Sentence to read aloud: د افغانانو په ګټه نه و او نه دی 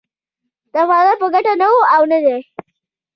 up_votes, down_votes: 2, 0